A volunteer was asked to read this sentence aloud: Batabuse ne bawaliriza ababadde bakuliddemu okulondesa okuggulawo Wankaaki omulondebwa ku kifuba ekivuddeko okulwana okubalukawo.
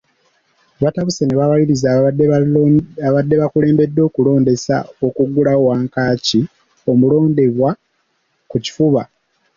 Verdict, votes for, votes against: rejected, 1, 2